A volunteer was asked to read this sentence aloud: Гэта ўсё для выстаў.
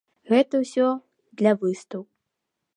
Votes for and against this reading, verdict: 1, 2, rejected